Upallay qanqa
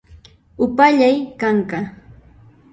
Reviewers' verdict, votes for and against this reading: rejected, 0, 2